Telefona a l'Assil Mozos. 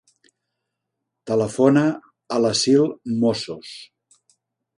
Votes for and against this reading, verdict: 0, 3, rejected